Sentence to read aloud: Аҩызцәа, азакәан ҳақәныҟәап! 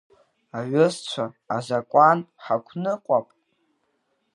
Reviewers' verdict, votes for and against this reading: rejected, 1, 2